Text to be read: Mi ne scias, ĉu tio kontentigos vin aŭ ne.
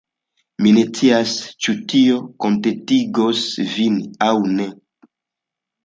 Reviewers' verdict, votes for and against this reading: accepted, 2, 0